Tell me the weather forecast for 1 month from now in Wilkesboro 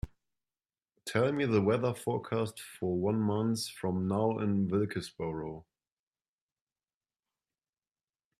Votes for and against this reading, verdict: 0, 2, rejected